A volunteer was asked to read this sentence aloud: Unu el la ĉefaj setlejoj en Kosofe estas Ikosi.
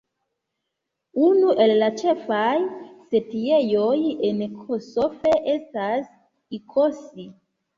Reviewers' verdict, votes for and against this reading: rejected, 1, 2